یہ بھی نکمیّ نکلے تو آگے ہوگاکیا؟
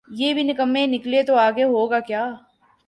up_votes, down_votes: 6, 0